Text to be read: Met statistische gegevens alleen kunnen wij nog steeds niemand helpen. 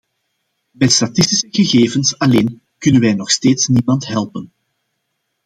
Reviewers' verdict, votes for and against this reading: accepted, 2, 0